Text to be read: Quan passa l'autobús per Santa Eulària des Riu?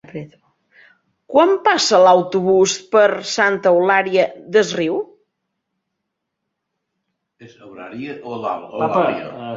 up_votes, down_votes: 0, 4